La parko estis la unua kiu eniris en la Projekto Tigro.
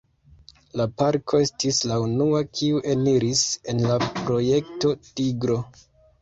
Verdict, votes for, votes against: accepted, 2, 0